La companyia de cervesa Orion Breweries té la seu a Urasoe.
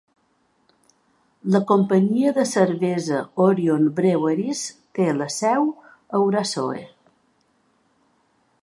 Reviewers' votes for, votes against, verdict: 4, 0, accepted